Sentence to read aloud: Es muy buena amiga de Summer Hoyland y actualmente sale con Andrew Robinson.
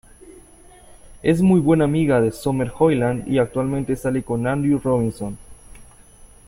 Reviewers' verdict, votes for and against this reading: accepted, 2, 0